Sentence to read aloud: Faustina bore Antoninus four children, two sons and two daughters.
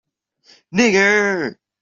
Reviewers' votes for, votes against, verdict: 0, 2, rejected